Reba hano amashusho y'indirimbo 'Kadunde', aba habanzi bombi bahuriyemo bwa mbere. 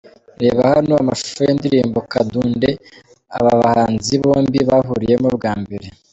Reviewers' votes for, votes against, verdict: 2, 1, accepted